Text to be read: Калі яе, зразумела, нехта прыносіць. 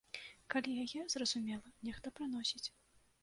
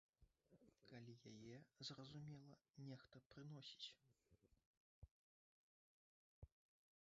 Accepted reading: first